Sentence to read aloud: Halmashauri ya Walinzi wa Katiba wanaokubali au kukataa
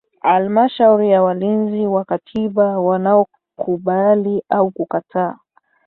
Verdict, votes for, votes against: accepted, 3, 0